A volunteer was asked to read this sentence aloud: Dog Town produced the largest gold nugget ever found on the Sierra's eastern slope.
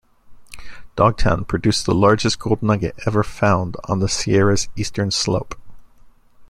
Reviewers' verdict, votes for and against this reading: accepted, 2, 1